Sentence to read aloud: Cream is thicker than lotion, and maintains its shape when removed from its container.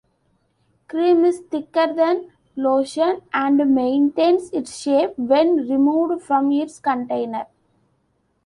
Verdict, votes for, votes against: accepted, 2, 0